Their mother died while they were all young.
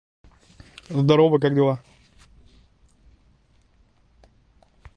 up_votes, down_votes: 0, 3